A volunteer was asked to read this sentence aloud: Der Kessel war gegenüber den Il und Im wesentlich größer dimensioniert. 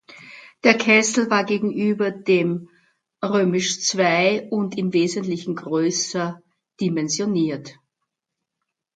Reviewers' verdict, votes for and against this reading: rejected, 1, 2